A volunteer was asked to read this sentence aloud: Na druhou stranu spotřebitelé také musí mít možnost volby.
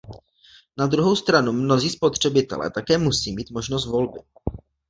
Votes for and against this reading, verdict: 0, 2, rejected